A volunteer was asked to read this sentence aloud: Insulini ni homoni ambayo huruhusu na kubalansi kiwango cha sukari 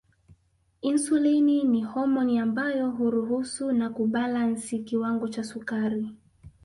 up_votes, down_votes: 1, 2